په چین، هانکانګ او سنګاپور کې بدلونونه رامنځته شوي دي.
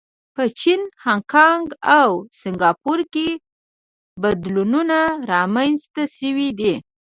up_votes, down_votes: 0, 2